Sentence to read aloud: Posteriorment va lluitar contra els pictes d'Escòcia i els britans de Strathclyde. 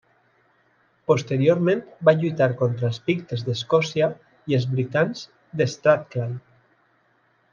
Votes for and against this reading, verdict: 2, 0, accepted